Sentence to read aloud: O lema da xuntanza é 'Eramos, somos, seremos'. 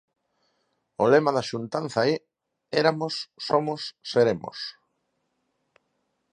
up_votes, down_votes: 2, 4